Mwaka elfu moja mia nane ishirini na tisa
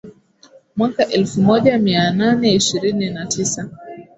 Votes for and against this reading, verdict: 18, 0, accepted